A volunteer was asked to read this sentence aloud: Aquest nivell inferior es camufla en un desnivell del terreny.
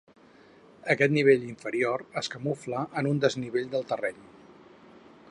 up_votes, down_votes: 4, 0